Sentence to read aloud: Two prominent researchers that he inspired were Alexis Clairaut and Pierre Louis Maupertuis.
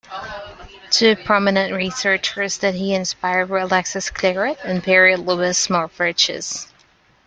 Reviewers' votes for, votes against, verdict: 1, 2, rejected